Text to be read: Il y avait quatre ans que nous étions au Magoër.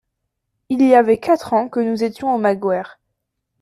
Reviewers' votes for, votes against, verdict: 2, 0, accepted